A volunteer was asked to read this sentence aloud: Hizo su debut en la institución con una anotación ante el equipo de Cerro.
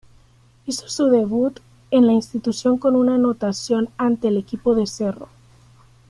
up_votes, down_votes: 1, 2